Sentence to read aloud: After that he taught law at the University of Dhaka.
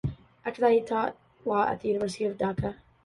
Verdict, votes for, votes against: rejected, 0, 2